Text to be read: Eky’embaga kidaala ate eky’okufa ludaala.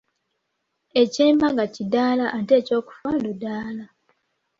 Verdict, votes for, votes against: accepted, 2, 0